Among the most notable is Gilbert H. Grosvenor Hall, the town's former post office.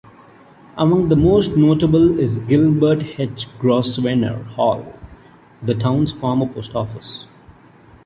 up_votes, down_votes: 1, 2